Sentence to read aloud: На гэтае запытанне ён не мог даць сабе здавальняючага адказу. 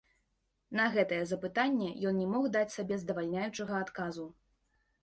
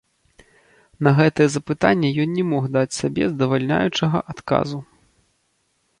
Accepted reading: first